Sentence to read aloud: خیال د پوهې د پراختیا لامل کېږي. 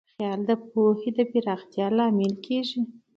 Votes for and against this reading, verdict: 2, 0, accepted